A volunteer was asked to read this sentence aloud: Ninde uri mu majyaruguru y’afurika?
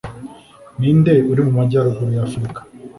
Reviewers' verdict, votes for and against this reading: accepted, 2, 0